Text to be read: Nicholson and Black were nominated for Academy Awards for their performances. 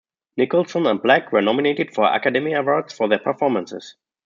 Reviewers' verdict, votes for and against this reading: rejected, 1, 2